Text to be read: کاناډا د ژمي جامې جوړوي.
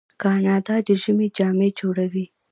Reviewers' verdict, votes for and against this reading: rejected, 0, 2